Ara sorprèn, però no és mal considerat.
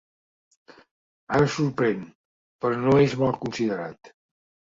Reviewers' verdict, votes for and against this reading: rejected, 1, 2